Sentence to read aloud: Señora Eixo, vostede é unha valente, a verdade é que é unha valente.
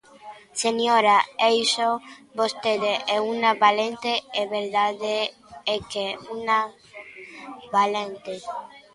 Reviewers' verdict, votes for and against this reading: rejected, 0, 2